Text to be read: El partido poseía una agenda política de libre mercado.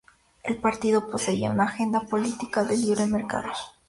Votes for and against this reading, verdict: 2, 0, accepted